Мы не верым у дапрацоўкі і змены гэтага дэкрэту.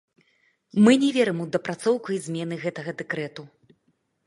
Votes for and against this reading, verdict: 1, 2, rejected